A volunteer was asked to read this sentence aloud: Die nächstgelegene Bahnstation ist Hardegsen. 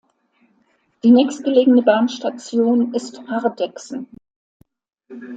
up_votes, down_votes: 2, 0